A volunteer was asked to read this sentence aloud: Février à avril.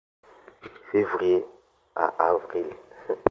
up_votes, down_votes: 2, 1